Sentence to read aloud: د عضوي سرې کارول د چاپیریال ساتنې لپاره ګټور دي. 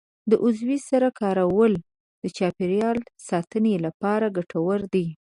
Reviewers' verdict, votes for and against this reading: rejected, 1, 2